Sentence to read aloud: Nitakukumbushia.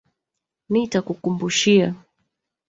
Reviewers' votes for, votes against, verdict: 0, 2, rejected